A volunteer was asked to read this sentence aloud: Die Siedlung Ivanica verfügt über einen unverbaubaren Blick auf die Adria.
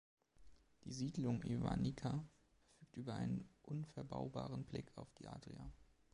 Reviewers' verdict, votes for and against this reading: rejected, 1, 2